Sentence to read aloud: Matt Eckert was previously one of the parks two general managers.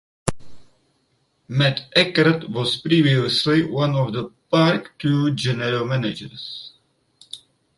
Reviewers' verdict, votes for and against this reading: rejected, 0, 4